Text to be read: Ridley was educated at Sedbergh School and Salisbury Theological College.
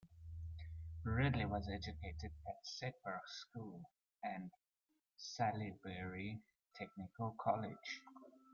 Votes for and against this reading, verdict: 0, 2, rejected